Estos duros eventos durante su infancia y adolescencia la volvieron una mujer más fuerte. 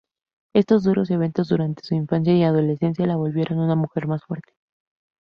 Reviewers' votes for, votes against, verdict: 4, 2, accepted